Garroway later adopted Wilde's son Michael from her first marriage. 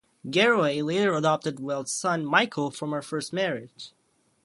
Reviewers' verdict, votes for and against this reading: rejected, 0, 2